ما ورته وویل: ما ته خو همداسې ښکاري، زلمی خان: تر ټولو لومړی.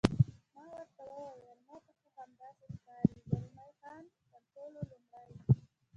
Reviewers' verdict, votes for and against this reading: rejected, 1, 2